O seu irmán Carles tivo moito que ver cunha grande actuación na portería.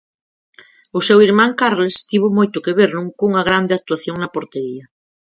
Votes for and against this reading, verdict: 0, 4, rejected